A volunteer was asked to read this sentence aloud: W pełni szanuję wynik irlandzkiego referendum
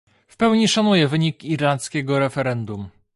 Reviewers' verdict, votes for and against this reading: accepted, 2, 0